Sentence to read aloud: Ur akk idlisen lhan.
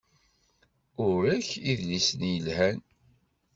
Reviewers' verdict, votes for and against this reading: rejected, 1, 2